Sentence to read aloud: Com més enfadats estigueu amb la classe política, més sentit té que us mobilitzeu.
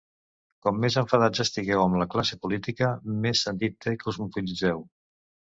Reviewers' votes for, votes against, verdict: 0, 2, rejected